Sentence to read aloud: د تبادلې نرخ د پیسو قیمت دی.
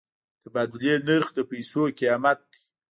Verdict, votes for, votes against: rejected, 1, 2